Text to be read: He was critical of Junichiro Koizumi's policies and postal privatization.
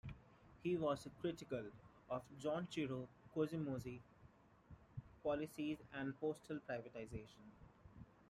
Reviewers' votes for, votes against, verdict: 2, 0, accepted